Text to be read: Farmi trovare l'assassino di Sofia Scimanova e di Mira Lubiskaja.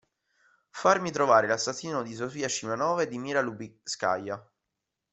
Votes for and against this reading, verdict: 1, 2, rejected